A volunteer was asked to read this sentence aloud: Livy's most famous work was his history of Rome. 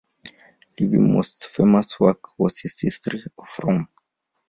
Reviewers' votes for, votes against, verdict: 0, 2, rejected